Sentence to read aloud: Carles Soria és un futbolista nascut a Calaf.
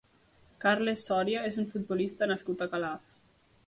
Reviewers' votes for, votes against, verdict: 3, 0, accepted